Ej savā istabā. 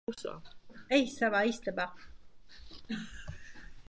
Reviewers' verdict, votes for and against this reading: rejected, 0, 2